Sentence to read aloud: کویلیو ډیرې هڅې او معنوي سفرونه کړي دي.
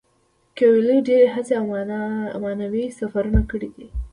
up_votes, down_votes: 0, 2